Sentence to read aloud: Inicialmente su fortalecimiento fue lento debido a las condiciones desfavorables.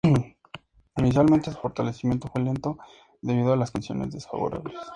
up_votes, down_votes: 0, 2